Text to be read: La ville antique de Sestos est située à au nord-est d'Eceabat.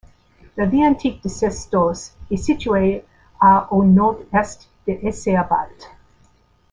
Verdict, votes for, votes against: rejected, 1, 2